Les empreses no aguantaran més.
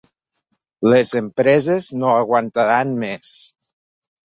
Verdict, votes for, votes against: accepted, 3, 0